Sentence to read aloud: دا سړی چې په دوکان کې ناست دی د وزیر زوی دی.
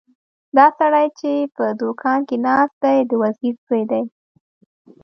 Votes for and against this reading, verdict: 2, 0, accepted